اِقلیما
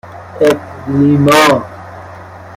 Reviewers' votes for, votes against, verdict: 1, 2, rejected